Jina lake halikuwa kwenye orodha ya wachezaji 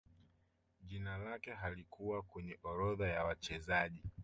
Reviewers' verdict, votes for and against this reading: rejected, 0, 2